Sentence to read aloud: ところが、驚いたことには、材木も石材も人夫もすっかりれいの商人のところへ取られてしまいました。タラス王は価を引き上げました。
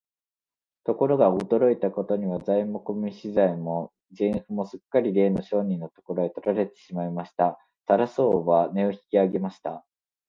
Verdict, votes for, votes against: rejected, 0, 2